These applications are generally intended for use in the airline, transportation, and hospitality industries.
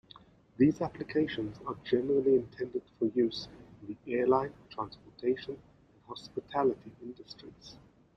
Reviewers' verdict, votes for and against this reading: accepted, 2, 0